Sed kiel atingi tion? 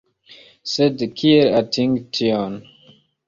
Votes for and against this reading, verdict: 3, 0, accepted